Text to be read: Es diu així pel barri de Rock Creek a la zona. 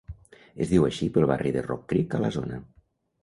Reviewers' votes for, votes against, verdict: 2, 0, accepted